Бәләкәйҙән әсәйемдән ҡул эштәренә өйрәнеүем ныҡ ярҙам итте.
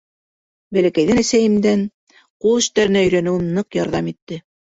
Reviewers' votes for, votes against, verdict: 2, 0, accepted